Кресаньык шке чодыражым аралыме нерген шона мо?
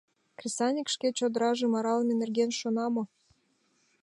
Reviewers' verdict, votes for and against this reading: accepted, 2, 0